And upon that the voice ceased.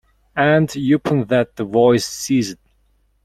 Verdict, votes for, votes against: rejected, 0, 2